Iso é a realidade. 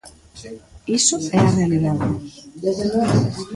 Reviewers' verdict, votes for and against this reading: accepted, 2, 0